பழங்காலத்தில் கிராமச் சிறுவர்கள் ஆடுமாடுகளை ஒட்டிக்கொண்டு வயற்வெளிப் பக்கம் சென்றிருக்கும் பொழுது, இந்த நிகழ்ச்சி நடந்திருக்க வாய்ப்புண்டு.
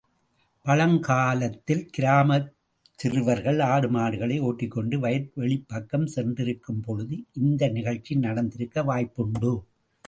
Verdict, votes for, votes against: accepted, 2, 0